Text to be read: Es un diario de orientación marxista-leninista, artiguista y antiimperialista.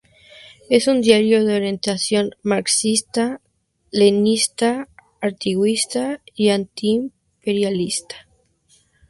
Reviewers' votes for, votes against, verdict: 0, 2, rejected